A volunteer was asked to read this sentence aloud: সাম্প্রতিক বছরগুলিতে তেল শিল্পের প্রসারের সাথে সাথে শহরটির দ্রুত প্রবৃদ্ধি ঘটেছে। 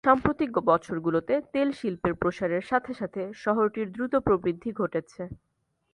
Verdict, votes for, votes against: accepted, 2, 1